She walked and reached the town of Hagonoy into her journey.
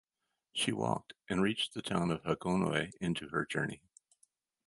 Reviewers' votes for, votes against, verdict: 4, 0, accepted